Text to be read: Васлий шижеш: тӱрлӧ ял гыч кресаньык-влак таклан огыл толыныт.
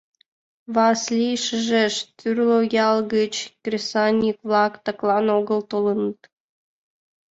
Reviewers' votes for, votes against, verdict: 1, 2, rejected